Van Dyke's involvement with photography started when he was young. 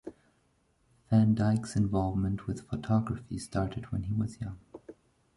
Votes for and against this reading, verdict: 0, 2, rejected